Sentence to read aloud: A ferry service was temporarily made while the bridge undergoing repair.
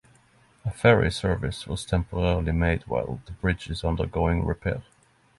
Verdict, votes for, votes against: rejected, 0, 3